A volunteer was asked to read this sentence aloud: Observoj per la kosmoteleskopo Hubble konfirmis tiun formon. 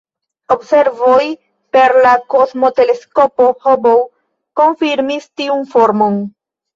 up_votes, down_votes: 2, 0